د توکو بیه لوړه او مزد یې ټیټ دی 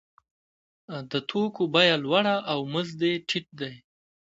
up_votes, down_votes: 2, 0